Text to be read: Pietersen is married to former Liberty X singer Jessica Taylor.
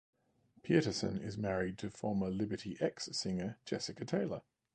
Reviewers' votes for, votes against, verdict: 0, 2, rejected